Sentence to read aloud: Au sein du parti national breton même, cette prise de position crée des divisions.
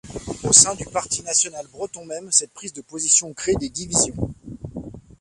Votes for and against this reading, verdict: 2, 0, accepted